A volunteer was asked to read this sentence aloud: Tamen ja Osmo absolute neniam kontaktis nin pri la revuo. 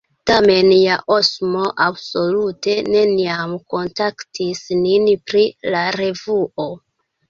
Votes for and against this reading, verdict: 1, 2, rejected